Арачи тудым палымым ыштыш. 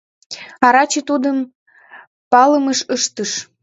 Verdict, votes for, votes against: rejected, 0, 2